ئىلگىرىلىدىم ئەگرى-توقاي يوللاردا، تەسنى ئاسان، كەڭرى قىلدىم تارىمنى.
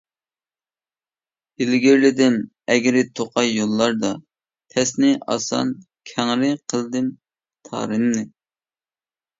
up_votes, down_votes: 2, 0